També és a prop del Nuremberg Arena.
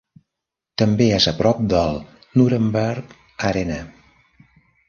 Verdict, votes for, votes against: accepted, 4, 0